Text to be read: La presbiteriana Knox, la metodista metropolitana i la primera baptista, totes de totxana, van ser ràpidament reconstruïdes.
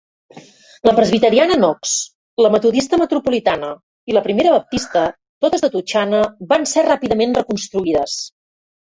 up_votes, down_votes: 1, 2